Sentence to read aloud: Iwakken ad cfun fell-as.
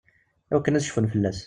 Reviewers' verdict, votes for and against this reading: accepted, 2, 0